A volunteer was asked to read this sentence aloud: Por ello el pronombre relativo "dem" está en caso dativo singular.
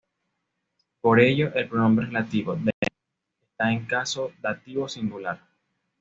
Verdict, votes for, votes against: rejected, 1, 2